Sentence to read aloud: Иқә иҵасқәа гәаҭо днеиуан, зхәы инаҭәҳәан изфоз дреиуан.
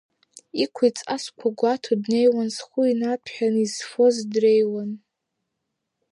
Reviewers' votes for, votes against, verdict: 2, 0, accepted